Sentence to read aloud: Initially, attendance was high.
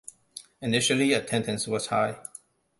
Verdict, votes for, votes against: accepted, 2, 0